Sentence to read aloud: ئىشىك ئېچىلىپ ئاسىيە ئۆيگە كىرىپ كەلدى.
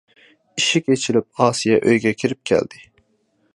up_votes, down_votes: 2, 0